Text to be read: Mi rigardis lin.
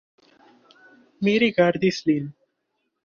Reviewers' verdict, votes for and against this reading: accepted, 2, 0